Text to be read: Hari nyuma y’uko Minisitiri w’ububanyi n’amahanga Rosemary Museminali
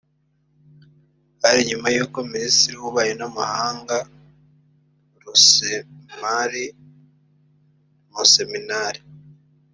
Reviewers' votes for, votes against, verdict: 1, 3, rejected